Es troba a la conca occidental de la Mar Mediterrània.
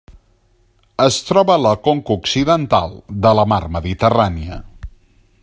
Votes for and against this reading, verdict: 2, 0, accepted